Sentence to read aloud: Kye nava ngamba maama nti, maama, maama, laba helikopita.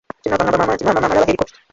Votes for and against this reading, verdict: 1, 2, rejected